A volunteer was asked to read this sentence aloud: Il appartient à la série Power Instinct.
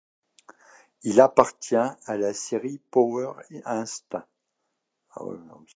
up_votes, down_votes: 1, 2